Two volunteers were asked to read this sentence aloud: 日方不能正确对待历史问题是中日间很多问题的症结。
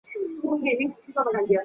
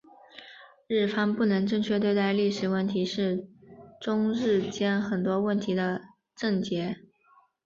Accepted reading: second